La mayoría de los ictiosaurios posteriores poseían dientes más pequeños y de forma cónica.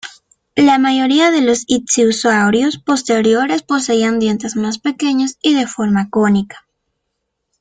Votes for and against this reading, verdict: 2, 0, accepted